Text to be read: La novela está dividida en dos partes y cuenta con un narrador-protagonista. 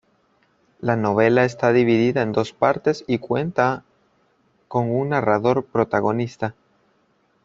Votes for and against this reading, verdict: 1, 2, rejected